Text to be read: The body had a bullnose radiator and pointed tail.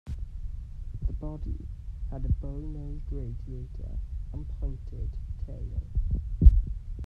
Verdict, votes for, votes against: rejected, 0, 2